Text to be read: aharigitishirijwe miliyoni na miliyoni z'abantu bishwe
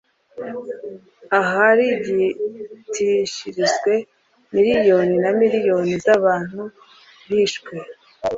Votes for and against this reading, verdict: 2, 0, accepted